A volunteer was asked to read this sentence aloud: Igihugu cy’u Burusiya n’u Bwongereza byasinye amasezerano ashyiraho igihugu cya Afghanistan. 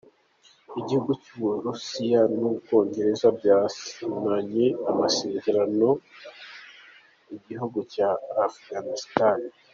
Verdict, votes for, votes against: rejected, 0, 2